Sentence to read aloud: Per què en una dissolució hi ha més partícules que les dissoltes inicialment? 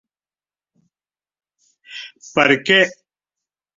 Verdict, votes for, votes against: rejected, 0, 3